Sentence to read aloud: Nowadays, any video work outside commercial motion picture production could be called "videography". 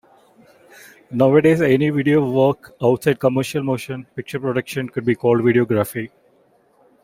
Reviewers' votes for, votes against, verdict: 2, 1, accepted